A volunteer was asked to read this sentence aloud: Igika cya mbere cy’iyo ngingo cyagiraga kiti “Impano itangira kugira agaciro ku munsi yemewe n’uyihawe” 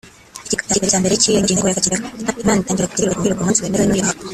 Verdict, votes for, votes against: rejected, 0, 2